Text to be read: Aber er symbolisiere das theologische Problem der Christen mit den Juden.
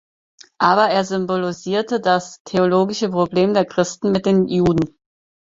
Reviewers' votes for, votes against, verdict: 0, 4, rejected